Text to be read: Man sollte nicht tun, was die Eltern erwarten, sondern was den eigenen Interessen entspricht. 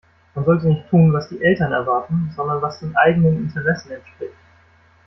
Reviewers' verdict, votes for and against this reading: accepted, 3, 0